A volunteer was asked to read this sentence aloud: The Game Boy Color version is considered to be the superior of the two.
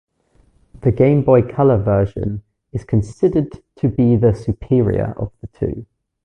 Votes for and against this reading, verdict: 2, 0, accepted